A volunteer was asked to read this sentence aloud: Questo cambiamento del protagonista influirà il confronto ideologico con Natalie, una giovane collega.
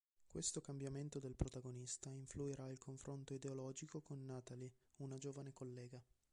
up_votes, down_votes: 3, 0